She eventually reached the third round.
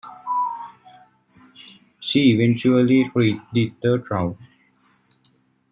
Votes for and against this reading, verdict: 2, 1, accepted